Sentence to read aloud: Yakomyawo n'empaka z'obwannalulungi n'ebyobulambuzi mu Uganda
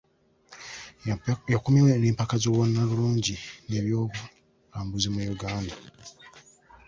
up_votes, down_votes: 1, 2